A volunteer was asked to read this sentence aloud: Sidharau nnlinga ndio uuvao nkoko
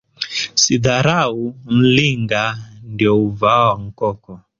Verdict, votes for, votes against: accepted, 2, 0